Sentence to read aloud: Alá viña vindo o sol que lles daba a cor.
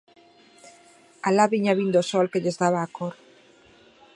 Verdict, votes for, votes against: accepted, 2, 0